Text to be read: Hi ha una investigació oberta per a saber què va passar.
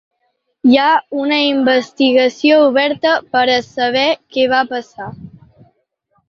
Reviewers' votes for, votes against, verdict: 3, 0, accepted